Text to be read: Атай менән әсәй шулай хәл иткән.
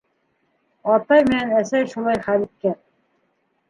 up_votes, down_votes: 1, 2